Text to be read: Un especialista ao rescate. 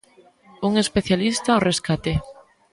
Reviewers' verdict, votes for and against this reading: rejected, 1, 2